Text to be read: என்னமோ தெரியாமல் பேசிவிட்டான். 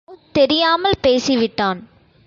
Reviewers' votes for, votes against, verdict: 1, 2, rejected